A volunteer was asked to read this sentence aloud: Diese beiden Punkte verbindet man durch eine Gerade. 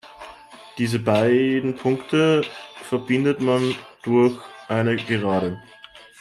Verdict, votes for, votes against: rejected, 1, 2